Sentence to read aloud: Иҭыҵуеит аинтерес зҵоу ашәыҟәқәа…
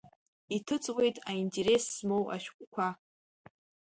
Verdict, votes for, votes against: rejected, 1, 2